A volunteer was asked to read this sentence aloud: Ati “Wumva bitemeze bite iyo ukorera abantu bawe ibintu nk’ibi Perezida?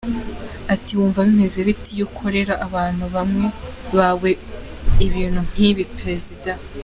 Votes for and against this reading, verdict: 1, 2, rejected